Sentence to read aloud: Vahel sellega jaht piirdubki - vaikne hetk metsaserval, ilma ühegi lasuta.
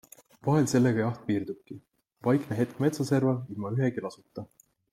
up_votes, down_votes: 2, 0